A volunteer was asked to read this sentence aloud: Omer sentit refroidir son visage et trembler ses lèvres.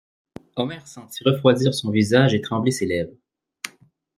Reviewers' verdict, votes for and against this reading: rejected, 1, 3